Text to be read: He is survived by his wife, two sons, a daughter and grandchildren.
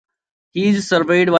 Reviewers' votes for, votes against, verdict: 0, 2, rejected